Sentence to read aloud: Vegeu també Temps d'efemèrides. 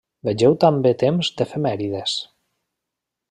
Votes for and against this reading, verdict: 2, 0, accepted